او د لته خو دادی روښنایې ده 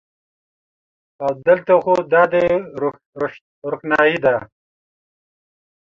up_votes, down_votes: 2, 0